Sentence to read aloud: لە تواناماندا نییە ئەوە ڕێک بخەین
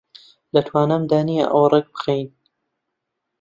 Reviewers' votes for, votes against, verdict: 2, 3, rejected